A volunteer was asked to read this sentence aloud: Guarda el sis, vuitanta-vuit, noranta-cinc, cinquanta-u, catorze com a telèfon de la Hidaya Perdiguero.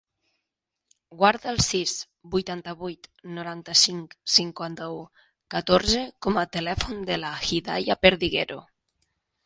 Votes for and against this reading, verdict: 5, 0, accepted